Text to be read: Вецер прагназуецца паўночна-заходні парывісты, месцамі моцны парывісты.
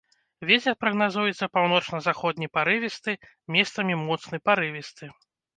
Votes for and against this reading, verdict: 3, 0, accepted